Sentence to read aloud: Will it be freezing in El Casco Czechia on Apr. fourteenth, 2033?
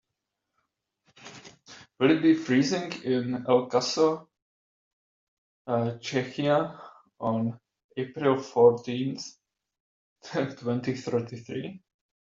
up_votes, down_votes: 0, 2